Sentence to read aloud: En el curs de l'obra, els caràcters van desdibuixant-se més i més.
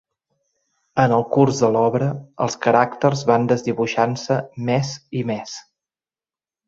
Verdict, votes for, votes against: accepted, 3, 0